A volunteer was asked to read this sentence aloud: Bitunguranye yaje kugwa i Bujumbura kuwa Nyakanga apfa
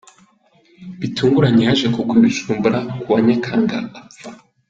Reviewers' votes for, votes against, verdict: 2, 0, accepted